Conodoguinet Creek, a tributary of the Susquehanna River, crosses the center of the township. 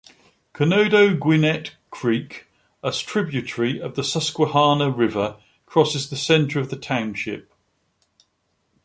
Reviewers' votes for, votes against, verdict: 1, 2, rejected